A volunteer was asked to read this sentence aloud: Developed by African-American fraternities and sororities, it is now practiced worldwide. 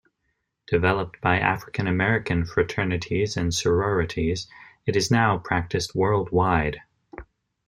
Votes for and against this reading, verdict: 2, 0, accepted